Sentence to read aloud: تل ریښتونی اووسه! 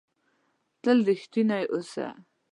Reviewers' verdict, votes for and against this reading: accepted, 2, 0